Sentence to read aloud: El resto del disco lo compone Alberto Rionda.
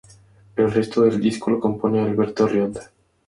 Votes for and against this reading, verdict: 4, 0, accepted